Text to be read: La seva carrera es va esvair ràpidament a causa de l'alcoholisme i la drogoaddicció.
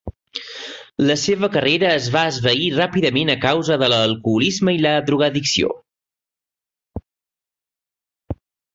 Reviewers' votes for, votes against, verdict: 2, 1, accepted